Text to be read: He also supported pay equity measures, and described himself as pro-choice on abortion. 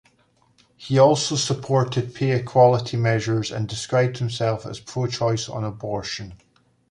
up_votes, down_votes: 1, 3